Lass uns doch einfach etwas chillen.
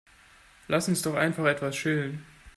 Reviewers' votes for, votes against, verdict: 0, 2, rejected